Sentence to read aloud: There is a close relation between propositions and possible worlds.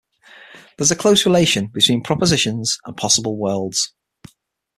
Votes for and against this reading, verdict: 6, 0, accepted